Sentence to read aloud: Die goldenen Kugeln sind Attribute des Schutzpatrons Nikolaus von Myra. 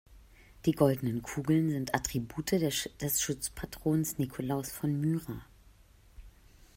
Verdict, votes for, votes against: rejected, 0, 2